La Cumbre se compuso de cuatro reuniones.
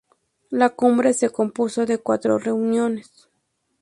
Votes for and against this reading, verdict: 2, 0, accepted